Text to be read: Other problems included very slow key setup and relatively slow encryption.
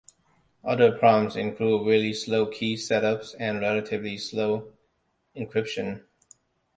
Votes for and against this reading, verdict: 1, 2, rejected